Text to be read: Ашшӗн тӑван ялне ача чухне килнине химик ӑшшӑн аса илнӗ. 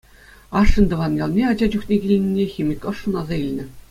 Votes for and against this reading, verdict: 2, 0, accepted